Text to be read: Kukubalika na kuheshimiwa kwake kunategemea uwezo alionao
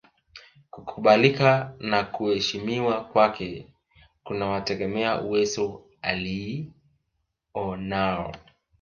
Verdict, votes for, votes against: rejected, 0, 2